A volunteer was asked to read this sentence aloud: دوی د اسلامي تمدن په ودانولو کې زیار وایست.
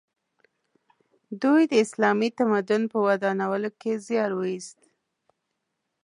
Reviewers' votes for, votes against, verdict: 2, 0, accepted